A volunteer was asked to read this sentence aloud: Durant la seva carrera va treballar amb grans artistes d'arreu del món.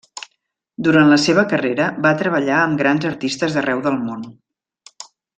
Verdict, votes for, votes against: accepted, 3, 0